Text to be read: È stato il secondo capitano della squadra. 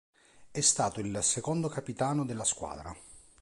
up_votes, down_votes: 2, 0